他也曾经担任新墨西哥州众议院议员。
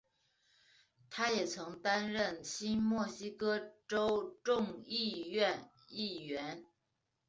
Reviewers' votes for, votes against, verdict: 3, 1, accepted